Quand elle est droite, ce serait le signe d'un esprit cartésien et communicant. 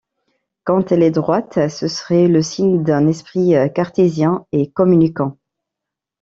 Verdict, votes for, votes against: rejected, 1, 2